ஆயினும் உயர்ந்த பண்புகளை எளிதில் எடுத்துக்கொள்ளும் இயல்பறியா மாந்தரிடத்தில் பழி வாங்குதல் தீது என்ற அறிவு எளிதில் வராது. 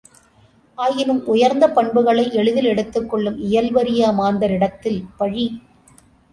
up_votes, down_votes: 0, 2